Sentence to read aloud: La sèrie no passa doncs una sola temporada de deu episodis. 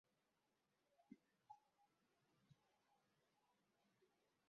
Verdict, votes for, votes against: rejected, 0, 3